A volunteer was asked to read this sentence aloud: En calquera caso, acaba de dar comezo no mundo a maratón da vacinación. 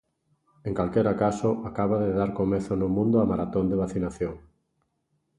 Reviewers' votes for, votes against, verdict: 1, 2, rejected